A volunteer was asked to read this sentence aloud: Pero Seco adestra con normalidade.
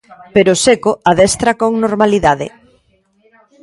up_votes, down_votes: 1, 2